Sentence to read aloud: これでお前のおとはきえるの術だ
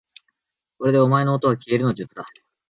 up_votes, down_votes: 2, 0